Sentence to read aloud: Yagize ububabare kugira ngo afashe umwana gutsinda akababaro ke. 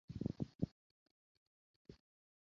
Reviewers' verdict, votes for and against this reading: rejected, 0, 2